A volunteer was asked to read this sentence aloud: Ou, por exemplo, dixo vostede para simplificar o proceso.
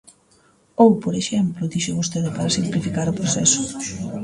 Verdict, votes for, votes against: accepted, 2, 0